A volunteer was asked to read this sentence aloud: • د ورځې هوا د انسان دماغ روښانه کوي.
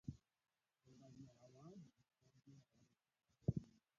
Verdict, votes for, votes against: rejected, 1, 2